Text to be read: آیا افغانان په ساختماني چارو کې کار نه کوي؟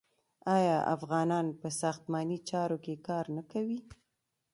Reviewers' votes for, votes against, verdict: 2, 1, accepted